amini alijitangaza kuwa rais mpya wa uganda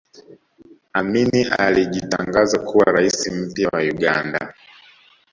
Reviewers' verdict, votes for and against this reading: accepted, 2, 0